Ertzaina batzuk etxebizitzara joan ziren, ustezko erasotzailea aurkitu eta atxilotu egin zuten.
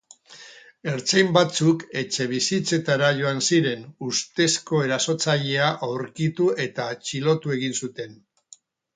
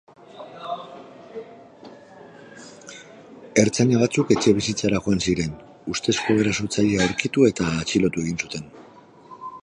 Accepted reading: second